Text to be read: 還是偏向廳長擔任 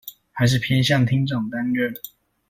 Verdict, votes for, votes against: accepted, 2, 0